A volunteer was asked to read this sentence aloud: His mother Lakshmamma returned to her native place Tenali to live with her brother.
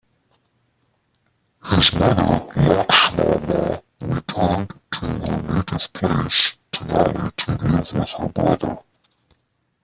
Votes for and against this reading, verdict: 1, 2, rejected